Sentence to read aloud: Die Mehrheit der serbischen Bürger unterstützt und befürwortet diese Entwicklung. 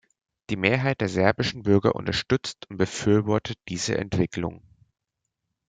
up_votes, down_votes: 0, 2